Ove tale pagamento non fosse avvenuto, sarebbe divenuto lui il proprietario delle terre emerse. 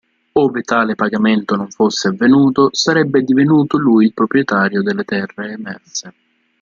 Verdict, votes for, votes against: accepted, 2, 0